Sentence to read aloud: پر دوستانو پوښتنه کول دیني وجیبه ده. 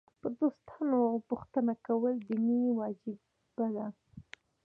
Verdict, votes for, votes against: rejected, 2, 3